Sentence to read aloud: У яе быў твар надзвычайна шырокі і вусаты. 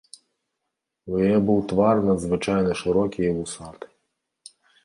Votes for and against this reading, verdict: 1, 2, rejected